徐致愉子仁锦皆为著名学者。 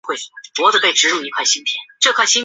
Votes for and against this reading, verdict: 1, 4, rejected